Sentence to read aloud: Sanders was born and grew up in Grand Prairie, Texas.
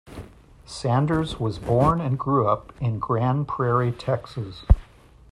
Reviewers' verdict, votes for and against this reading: accepted, 2, 0